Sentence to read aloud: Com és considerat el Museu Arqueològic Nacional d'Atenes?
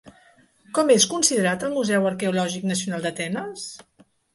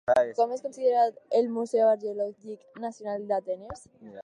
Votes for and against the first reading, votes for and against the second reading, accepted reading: 3, 0, 2, 4, first